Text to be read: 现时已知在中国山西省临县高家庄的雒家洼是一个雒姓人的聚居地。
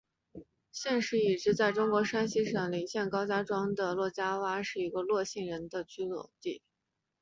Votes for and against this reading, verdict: 1, 2, rejected